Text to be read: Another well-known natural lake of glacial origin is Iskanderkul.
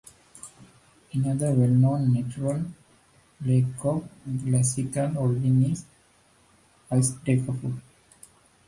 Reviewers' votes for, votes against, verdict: 0, 2, rejected